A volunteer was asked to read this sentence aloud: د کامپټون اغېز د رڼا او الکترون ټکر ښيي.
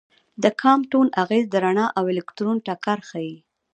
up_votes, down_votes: 2, 1